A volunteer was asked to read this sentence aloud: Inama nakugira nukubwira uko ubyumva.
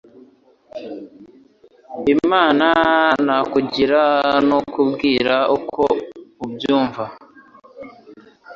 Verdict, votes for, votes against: accepted, 2, 0